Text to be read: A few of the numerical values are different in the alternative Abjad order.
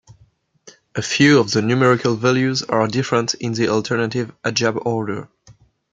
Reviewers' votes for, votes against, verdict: 1, 2, rejected